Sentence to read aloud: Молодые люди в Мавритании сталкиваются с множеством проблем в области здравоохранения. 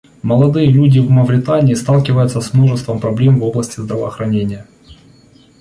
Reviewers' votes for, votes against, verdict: 2, 0, accepted